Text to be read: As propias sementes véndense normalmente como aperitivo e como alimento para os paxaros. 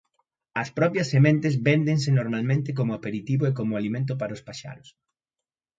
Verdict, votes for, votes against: accepted, 2, 0